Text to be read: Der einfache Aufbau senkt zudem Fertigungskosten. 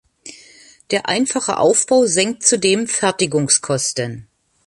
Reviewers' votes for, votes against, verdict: 1, 2, rejected